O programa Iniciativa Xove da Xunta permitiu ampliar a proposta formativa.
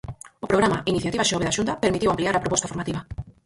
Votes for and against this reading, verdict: 2, 4, rejected